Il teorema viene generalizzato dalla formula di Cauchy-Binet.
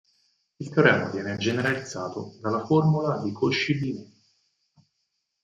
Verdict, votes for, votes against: rejected, 0, 4